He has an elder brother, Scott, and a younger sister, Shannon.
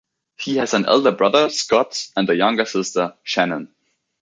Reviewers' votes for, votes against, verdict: 2, 0, accepted